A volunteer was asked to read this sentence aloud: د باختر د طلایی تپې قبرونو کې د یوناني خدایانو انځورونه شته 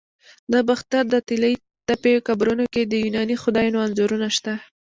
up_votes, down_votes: 2, 1